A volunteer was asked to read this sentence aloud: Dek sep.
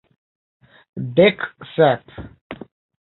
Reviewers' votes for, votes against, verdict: 2, 0, accepted